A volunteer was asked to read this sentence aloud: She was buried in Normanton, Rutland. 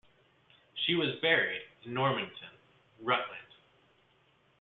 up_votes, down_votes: 2, 0